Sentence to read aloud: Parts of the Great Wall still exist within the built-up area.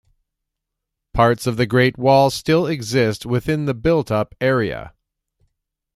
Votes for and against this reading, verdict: 2, 0, accepted